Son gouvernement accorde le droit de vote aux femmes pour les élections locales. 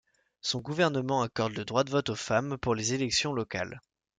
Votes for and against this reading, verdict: 2, 0, accepted